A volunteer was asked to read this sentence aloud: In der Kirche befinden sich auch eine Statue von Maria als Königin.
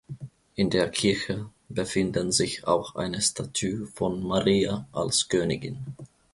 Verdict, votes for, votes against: rejected, 0, 2